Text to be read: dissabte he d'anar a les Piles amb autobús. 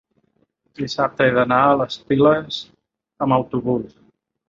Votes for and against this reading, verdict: 3, 0, accepted